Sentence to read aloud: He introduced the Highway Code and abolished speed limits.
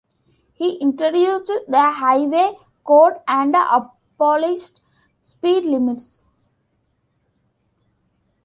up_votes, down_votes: 0, 2